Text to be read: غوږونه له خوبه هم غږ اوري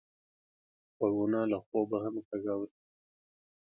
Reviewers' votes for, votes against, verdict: 2, 0, accepted